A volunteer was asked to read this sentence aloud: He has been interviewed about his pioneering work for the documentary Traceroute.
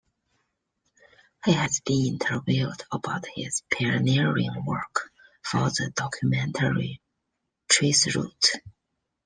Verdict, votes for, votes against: accepted, 2, 0